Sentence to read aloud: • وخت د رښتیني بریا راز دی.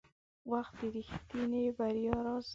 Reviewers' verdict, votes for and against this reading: rejected, 1, 2